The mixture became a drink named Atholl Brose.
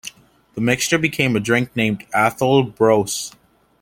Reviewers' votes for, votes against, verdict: 2, 0, accepted